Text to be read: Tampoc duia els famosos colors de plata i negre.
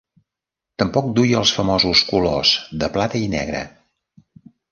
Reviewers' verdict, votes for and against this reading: rejected, 1, 2